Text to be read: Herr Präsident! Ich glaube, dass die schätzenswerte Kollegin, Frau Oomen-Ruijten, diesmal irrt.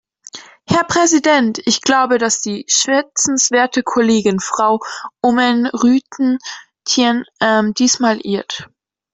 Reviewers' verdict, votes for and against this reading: rejected, 1, 2